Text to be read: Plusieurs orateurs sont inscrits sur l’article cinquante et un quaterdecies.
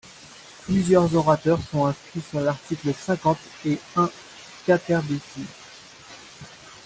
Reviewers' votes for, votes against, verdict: 2, 0, accepted